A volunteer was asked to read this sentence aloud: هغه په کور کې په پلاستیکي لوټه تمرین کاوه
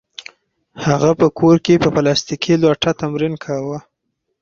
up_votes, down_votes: 4, 0